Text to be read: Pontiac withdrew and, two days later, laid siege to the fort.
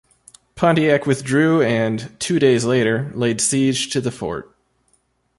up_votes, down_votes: 2, 1